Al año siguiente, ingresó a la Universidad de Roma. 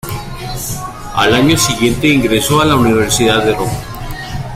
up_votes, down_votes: 1, 2